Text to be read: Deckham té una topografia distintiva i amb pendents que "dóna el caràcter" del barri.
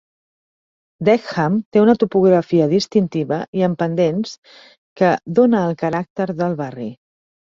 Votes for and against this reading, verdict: 2, 0, accepted